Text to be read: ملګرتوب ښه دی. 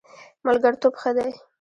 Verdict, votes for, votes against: accepted, 2, 1